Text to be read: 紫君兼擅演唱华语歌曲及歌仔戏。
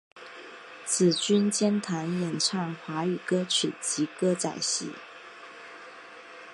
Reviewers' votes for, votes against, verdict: 2, 1, accepted